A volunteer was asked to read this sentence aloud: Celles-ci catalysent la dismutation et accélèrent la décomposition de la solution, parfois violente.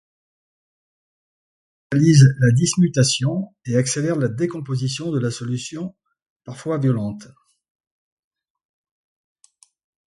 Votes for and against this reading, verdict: 1, 2, rejected